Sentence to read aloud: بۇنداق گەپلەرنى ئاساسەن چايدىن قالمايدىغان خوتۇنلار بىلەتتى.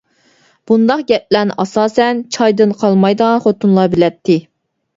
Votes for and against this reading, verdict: 2, 0, accepted